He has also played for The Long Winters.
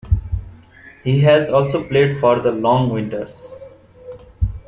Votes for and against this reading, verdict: 2, 0, accepted